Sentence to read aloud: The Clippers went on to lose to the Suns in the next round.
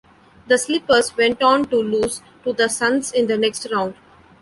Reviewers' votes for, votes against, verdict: 1, 2, rejected